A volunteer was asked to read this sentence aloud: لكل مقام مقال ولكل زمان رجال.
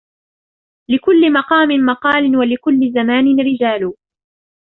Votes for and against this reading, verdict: 1, 2, rejected